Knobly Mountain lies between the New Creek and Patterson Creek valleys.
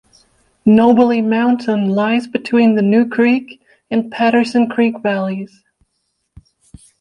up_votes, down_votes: 2, 0